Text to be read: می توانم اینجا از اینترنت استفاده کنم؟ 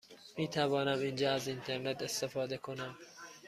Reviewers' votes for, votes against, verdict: 2, 0, accepted